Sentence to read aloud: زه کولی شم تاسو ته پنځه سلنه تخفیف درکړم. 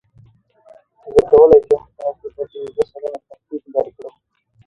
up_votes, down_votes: 1, 2